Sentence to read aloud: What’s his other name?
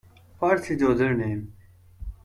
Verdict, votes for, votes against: rejected, 1, 2